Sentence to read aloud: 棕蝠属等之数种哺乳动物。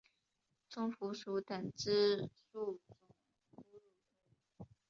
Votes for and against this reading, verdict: 0, 2, rejected